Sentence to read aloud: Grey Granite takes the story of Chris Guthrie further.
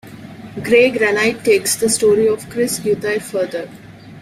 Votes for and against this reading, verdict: 0, 2, rejected